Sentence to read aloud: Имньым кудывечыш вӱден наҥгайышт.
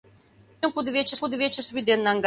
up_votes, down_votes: 0, 2